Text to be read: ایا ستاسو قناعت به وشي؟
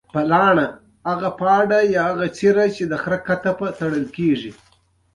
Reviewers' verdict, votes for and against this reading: rejected, 1, 2